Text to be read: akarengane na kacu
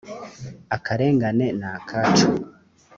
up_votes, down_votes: 3, 0